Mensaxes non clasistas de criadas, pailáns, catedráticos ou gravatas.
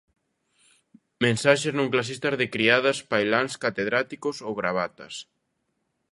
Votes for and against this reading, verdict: 2, 0, accepted